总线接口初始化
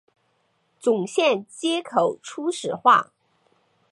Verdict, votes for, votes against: accepted, 5, 1